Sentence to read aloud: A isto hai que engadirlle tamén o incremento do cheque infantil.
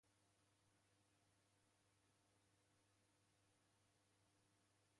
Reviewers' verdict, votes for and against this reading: rejected, 0, 2